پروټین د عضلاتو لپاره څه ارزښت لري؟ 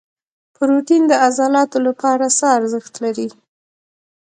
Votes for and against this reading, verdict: 2, 1, accepted